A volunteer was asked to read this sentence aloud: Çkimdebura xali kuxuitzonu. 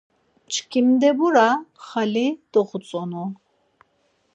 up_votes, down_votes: 2, 4